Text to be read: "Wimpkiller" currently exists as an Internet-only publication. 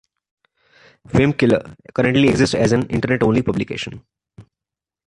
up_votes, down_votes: 2, 0